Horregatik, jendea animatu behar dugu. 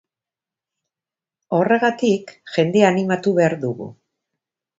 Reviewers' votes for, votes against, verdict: 2, 0, accepted